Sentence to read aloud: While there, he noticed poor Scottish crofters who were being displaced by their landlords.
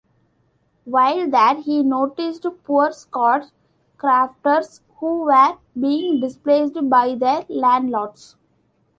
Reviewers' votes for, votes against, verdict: 1, 2, rejected